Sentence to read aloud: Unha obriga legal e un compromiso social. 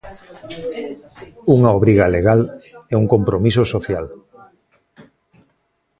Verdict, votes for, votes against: accepted, 2, 1